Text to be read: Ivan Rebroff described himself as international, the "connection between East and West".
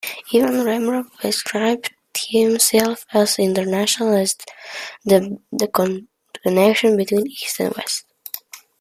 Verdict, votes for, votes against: rejected, 0, 2